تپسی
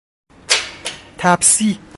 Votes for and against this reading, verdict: 2, 0, accepted